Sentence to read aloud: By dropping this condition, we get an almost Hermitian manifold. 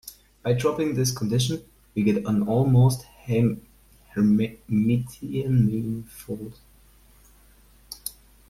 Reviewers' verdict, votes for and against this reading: rejected, 0, 2